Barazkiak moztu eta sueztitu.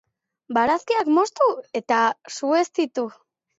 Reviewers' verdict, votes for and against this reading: accepted, 2, 0